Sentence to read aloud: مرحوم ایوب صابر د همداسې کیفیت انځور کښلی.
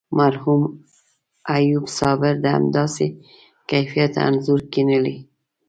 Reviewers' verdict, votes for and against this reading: rejected, 1, 2